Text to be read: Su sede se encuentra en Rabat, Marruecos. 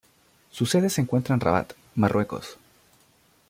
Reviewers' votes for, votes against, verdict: 2, 0, accepted